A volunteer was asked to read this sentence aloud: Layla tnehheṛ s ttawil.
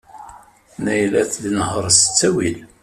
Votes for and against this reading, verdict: 0, 2, rejected